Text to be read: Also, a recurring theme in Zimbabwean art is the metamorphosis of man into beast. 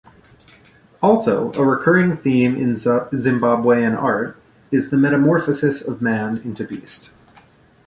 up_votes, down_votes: 1, 2